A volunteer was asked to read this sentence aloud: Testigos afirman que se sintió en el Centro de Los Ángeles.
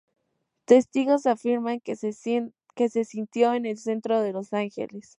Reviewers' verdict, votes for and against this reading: rejected, 2, 2